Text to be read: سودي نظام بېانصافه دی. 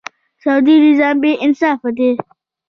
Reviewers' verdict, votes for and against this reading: rejected, 0, 2